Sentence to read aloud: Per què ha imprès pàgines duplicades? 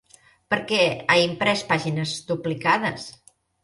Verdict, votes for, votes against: accepted, 2, 0